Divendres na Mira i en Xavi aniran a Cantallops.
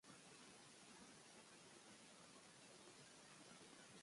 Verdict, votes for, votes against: rejected, 1, 2